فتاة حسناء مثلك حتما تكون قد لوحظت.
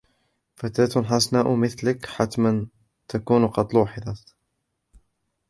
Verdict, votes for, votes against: rejected, 1, 2